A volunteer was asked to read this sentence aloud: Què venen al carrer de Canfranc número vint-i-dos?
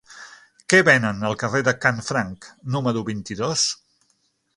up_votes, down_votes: 6, 0